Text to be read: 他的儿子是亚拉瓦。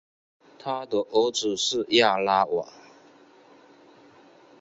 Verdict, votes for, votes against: accepted, 3, 0